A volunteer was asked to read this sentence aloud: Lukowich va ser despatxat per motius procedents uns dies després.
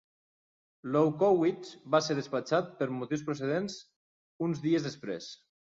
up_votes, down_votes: 1, 2